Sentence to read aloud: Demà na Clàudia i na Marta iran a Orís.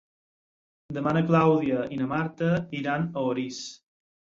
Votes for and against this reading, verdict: 6, 0, accepted